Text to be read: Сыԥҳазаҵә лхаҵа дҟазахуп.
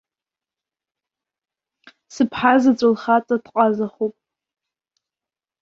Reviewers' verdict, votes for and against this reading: rejected, 1, 2